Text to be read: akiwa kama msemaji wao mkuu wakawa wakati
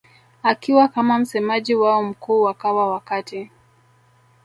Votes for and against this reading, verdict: 2, 1, accepted